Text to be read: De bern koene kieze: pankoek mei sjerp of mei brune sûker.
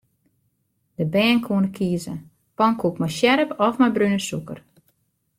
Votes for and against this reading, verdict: 2, 0, accepted